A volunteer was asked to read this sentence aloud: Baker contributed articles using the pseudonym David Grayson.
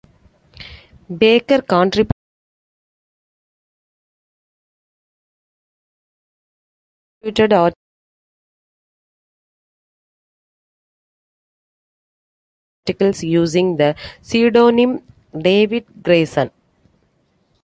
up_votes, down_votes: 1, 2